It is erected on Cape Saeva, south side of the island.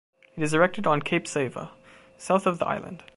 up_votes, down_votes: 1, 2